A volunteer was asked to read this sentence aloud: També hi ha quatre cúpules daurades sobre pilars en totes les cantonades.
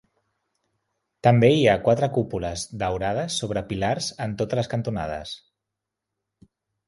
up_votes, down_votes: 3, 0